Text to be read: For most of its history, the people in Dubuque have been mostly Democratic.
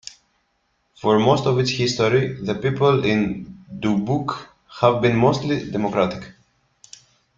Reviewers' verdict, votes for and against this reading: rejected, 1, 2